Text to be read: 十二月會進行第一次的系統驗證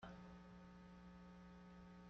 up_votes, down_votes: 0, 2